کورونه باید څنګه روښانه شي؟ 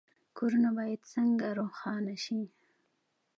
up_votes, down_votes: 2, 0